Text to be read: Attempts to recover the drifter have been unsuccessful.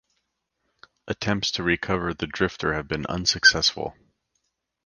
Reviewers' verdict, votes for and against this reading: accepted, 2, 0